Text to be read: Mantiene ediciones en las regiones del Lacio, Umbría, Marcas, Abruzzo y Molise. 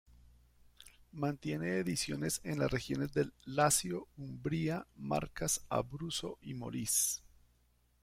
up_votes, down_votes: 2, 0